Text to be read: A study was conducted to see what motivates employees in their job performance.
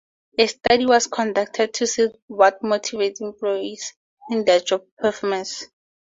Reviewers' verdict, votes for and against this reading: accepted, 4, 0